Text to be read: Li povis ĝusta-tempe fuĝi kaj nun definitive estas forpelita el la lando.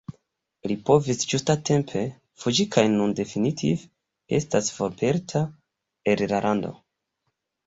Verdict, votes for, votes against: rejected, 0, 2